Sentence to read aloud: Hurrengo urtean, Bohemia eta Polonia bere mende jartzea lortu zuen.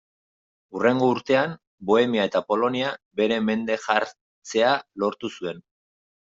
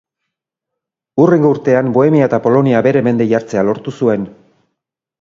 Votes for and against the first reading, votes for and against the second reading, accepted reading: 0, 2, 4, 0, second